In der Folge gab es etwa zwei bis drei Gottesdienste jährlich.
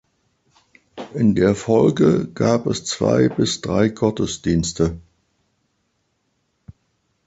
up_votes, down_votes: 0, 2